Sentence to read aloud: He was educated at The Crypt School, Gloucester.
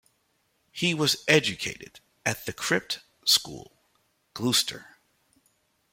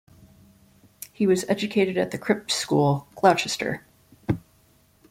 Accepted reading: second